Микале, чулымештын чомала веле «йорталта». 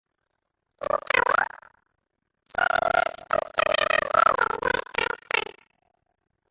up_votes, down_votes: 0, 2